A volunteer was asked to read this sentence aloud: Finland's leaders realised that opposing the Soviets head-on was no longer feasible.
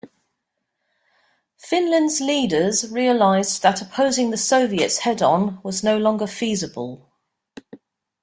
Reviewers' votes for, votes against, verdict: 2, 0, accepted